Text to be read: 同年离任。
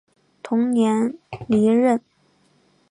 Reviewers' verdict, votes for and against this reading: accepted, 2, 0